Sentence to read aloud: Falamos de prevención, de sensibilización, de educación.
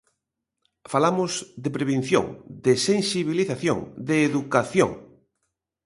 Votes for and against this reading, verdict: 2, 0, accepted